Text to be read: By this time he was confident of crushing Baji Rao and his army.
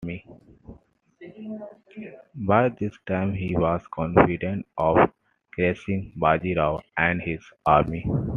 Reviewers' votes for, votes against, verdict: 2, 1, accepted